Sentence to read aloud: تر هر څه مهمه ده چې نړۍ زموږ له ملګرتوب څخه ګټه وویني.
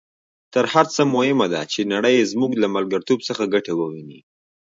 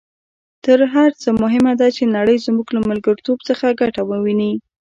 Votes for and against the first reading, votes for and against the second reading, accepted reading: 2, 0, 0, 2, first